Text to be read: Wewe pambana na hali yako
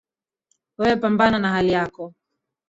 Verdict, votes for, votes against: rejected, 1, 2